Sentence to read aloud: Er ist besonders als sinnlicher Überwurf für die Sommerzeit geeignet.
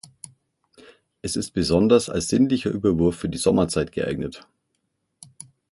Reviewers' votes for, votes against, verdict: 3, 6, rejected